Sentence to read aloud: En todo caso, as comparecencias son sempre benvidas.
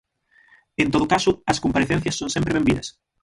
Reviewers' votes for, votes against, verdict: 0, 6, rejected